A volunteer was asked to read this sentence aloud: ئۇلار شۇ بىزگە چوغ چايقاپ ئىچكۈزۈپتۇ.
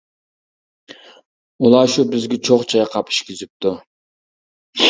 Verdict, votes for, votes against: rejected, 0, 2